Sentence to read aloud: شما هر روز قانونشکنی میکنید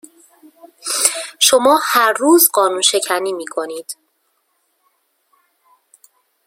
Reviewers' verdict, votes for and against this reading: rejected, 0, 2